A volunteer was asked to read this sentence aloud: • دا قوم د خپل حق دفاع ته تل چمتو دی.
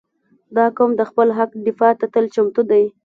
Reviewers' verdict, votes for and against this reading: accepted, 2, 0